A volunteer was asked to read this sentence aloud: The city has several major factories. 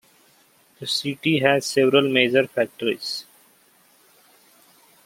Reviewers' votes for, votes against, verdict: 2, 0, accepted